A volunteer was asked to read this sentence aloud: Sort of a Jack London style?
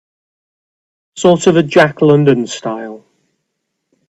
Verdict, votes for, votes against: accepted, 2, 1